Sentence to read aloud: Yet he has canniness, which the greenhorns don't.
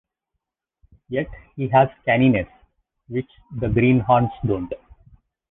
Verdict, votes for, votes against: rejected, 0, 2